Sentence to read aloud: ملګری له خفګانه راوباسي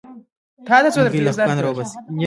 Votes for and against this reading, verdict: 2, 1, accepted